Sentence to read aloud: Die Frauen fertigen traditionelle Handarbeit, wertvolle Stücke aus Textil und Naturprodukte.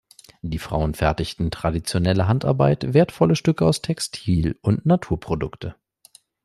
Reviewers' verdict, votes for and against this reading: rejected, 0, 2